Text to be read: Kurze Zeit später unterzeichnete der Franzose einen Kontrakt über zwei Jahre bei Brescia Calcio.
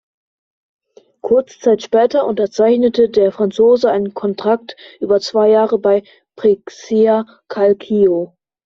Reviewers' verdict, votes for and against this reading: rejected, 0, 2